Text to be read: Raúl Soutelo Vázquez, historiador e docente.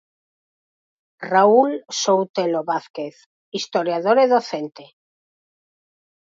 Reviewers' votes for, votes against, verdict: 4, 0, accepted